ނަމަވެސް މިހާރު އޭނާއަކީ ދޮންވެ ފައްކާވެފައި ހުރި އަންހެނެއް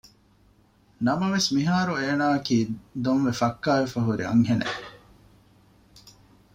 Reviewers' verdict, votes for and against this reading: accepted, 2, 0